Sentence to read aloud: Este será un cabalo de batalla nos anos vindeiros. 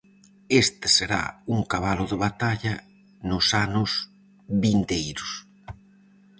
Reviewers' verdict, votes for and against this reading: accepted, 4, 0